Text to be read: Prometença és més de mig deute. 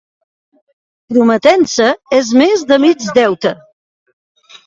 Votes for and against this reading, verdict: 2, 0, accepted